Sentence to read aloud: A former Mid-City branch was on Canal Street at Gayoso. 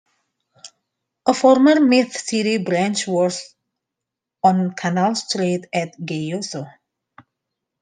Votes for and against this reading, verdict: 0, 2, rejected